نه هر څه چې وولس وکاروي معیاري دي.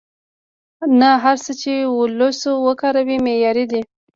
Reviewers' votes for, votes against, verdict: 2, 0, accepted